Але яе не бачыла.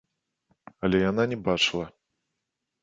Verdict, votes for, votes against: rejected, 0, 2